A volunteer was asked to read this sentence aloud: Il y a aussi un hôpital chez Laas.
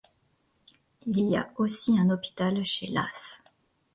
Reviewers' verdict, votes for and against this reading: accepted, 2, 0